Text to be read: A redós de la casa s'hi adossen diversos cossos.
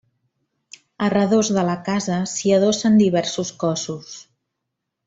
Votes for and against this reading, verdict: 2, 0, accepted